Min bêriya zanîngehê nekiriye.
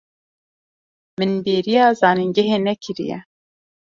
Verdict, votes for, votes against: accepted, 2, 0